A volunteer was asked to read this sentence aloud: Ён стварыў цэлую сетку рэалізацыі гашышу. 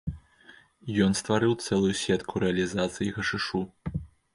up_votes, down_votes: 1, 2